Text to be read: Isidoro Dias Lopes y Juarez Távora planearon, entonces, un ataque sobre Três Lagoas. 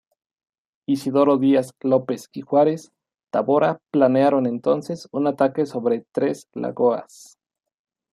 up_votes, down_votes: 0, 2